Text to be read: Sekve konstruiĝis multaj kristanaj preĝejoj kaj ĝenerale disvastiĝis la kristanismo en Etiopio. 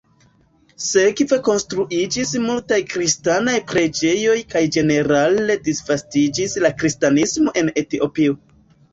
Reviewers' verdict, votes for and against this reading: accepted, 2, 1